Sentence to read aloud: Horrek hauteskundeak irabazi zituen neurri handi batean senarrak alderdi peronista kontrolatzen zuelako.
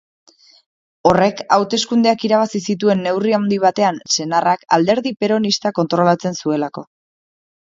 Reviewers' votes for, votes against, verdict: 2, 0, accepted